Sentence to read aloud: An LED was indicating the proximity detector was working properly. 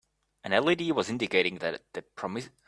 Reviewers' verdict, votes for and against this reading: rejected, 1, 2